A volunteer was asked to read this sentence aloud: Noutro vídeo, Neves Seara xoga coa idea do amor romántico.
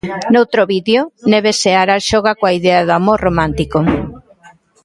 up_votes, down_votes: 1, 2